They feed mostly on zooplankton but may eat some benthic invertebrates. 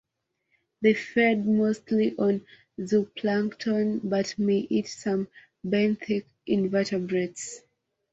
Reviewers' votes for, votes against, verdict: 3, 2, accepted